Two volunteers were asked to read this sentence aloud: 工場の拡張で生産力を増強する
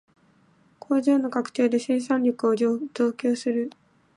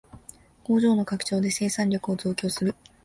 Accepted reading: second